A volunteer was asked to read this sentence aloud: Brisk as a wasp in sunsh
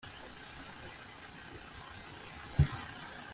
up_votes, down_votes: 1, 2